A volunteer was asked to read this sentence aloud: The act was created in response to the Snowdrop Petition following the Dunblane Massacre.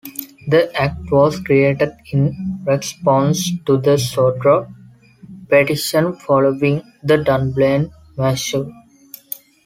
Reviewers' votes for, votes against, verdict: 1, 2, rejected